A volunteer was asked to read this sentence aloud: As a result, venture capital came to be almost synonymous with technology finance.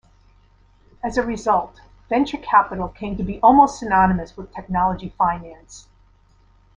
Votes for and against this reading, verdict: 2, 0, accepted